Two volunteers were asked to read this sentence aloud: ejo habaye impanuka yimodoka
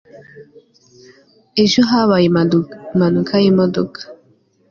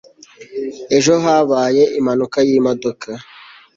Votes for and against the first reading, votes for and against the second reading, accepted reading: 1, 3, 2, 0, second